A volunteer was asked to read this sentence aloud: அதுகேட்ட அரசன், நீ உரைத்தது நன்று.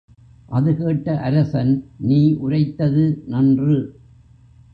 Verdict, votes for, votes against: rejected, 1, 2